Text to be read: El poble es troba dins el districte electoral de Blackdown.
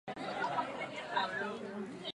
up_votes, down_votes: 0, 4